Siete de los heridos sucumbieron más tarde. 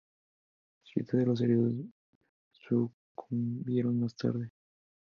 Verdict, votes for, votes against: accepted, 2, 0